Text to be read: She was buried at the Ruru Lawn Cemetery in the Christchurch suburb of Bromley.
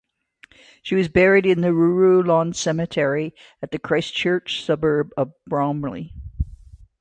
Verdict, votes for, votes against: accepted, 2, 0